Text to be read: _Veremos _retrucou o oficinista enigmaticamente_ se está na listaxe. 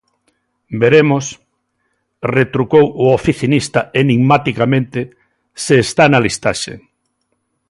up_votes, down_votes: 2, 0